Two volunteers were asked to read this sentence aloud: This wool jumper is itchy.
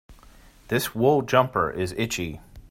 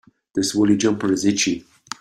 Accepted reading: first